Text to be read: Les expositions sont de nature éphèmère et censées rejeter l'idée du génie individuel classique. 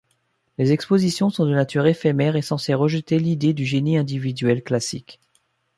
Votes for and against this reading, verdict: 2, 0, accepted